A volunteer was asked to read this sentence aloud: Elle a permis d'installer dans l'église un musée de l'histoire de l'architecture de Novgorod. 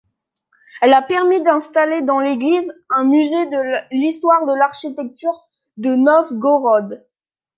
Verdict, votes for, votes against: rejected, 0, 2